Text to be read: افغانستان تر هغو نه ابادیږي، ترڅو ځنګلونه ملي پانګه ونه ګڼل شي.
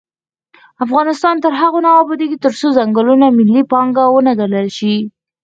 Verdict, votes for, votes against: rejected, 0, 4